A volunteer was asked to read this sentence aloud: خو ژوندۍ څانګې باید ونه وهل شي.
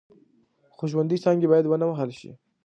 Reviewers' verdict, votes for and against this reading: rejected, 0, 2